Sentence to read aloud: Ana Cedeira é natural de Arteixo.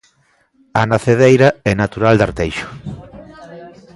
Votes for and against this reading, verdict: 1, 2, rejected